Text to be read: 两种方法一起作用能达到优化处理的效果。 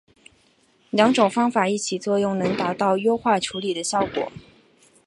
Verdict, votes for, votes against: accepted, 2, 0